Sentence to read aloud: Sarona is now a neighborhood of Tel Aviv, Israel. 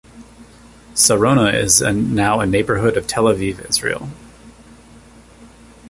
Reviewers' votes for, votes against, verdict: 0, 2, rejected